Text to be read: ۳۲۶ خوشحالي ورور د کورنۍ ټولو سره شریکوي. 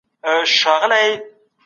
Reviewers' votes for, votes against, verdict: 0, 2, rejected